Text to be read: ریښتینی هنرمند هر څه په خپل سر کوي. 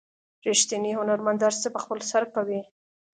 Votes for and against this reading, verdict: 2, 0, accepted